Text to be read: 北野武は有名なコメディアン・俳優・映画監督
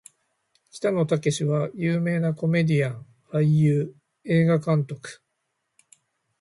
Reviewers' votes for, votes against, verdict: 1, 2, rejected